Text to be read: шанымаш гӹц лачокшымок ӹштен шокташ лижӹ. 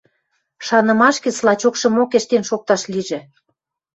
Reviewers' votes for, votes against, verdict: 2, 0, accepted